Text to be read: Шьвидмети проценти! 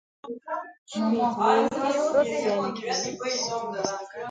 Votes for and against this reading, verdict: 1, 3, rejected